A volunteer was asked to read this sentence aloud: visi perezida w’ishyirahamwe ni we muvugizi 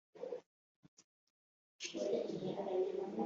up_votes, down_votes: 1, 2